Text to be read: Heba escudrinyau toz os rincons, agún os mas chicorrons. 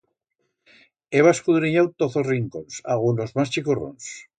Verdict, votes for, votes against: accepted, 2, 0